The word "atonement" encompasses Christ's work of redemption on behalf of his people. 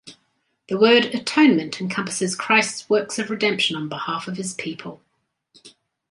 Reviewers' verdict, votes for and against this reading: rejected, 0, 2